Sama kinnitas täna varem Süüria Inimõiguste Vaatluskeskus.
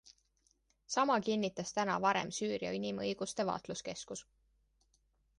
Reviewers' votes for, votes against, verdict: 2, 0, accepted